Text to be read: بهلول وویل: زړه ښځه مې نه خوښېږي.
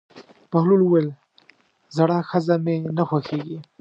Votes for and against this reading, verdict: 1, 2, rejected